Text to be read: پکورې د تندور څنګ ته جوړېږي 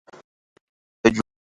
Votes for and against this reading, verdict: 0, 2, rejected